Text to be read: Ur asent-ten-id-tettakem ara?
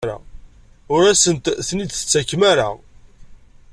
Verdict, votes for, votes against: accepted, 2, 0